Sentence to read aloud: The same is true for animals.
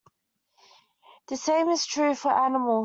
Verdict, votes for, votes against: rejected, 0, 2